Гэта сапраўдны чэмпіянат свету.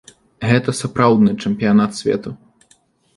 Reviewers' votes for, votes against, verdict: 2, 0, accepted